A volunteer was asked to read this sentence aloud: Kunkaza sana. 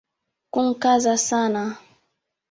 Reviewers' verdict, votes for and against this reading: accepted, 3, 1